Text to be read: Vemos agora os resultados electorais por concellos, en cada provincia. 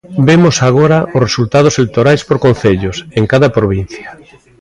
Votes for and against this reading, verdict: 0, 2, rejected